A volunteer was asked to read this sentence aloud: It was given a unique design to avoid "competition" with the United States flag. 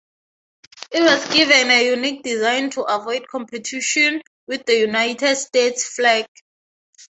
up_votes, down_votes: 3, 3